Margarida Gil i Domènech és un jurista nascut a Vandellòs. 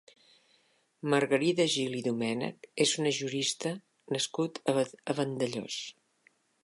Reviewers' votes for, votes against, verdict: 1, 2, rejected